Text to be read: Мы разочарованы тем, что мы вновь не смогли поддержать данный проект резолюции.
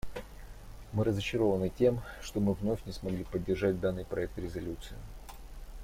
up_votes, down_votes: 2, 0